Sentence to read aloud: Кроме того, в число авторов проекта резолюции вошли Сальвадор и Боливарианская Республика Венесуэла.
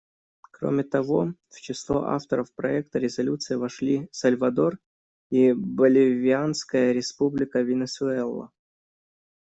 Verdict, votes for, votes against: rejected, 0, 2